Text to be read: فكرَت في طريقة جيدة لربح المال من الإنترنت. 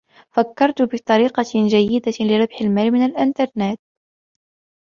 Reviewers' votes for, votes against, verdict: 2, 0, accepted